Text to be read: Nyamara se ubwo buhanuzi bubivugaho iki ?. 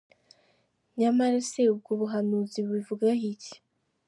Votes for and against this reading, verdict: 3, 0, accepted